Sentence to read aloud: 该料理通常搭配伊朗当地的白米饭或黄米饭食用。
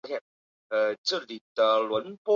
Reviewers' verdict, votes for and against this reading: rejected, 0, 2